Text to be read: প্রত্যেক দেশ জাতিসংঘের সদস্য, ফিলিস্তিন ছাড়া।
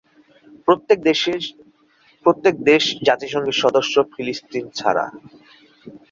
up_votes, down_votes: 3, 10